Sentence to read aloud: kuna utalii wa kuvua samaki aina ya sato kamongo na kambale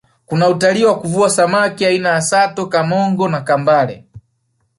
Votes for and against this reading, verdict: 1, 2, rejected